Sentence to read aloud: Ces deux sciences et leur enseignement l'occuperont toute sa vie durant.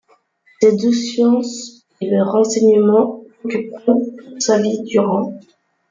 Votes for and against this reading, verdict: 2, 0, accepted